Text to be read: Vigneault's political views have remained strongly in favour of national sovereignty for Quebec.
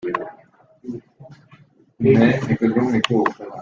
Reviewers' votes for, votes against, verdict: 0, 2, rejected